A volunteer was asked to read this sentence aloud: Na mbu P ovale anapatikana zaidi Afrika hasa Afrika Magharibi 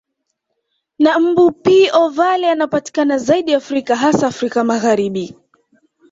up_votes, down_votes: 2, 0